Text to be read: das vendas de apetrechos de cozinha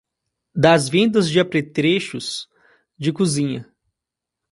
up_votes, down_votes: 1, 2